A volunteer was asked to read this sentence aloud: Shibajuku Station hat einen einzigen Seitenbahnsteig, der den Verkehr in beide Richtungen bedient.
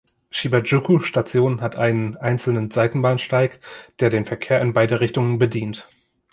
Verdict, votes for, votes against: rejected, 1, 2